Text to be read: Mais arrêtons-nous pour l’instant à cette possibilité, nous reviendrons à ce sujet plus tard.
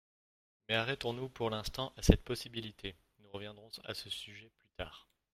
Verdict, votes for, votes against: rejected, 0, 2